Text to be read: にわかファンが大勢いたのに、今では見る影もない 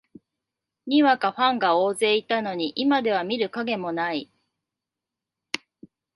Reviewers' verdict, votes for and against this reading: rejected, 1, 2